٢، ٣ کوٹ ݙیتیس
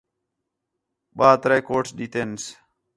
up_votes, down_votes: 0, 2